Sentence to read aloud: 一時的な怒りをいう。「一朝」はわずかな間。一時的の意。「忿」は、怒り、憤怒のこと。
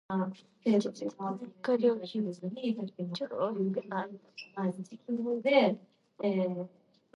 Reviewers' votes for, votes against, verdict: 0, 2, rejected